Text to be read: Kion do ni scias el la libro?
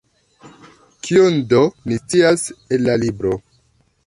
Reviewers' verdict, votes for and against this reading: rejected, 1, 2